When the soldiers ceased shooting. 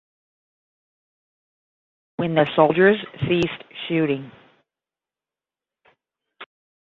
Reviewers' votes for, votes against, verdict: 5, 5, rejected